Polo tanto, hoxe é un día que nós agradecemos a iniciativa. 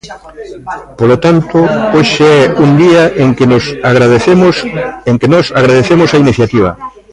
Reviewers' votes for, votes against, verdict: 0, 3, rejected